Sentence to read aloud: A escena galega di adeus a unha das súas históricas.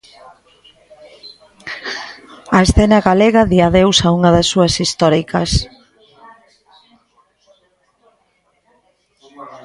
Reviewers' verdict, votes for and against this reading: rejected, 1, 2